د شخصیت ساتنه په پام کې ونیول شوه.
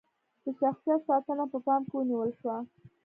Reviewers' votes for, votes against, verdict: 2, 1, accepted